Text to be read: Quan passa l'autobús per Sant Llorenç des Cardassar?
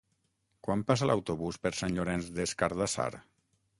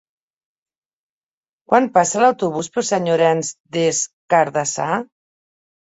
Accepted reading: second